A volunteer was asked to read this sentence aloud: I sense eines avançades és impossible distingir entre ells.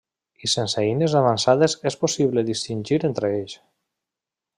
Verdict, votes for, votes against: rejected, 0, 2